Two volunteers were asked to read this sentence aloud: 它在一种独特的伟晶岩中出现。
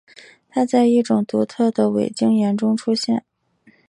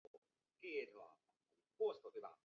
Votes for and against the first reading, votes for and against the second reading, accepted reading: 2, 0, 1, 3, first